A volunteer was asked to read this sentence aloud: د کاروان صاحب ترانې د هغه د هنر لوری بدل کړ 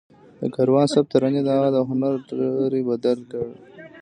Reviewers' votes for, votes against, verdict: 2, 0, accepted